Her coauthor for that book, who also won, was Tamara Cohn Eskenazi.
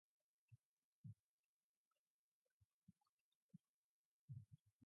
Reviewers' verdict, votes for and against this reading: rejected, 0, 2